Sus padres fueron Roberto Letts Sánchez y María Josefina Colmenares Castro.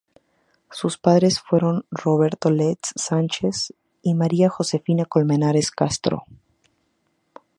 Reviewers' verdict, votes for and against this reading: accepted, 2, 0